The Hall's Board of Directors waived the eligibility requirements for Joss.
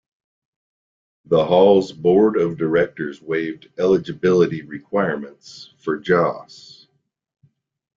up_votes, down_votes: 1, 2